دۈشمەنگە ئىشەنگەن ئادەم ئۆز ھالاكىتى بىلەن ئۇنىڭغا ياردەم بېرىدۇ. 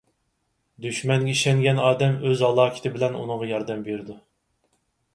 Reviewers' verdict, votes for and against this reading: accepted, 4, 0